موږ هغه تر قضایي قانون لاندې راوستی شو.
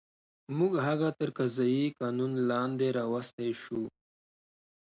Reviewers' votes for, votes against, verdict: 2, 0, accepted